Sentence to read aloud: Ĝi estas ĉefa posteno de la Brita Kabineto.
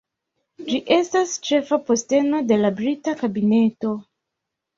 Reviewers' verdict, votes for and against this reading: accepted, 3, 0